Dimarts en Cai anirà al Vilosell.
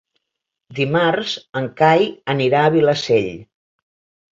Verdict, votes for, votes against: rejected, 0, 2